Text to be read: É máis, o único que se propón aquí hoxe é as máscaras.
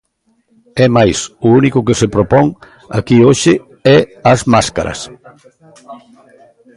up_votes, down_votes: 0, 2